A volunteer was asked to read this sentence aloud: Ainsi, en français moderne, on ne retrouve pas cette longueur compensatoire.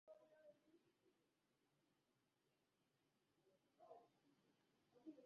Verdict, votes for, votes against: rejected, 0, 2